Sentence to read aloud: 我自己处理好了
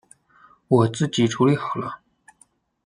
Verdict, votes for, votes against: rejected, 0, 2